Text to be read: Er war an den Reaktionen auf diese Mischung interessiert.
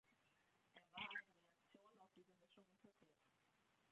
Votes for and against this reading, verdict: 0, 2, rejected